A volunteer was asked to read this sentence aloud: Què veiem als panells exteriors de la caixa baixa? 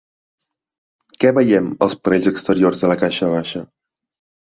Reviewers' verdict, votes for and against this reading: accepted, 3, 0